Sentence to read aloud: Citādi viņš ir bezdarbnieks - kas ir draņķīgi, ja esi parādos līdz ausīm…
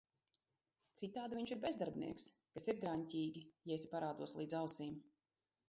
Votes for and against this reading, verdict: 1, 2, rejected